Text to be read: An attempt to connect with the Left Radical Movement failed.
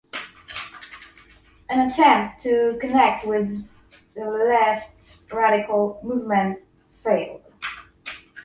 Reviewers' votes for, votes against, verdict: 1, 2, rejected